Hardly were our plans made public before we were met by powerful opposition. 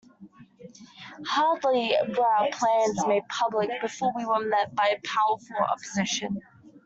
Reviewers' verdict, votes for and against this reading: accepted, 2, 0